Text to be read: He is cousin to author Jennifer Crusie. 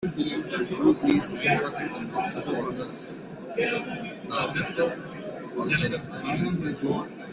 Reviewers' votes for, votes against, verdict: 0, 2, rejected